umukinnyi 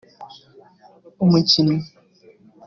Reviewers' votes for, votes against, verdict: 3, 0, accepted